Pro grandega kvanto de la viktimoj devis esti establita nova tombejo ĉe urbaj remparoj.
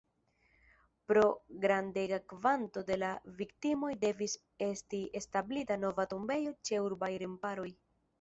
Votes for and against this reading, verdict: 1, 2, rejected